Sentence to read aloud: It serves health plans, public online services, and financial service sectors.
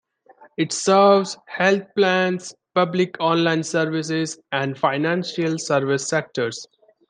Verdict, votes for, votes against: accepted, 2, 0